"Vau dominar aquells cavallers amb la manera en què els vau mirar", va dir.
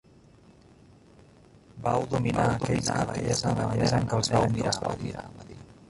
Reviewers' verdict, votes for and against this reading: rejected, 0, 2